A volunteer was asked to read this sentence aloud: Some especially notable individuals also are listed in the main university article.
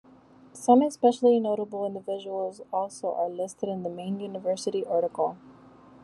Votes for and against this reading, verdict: 2, 0, accepted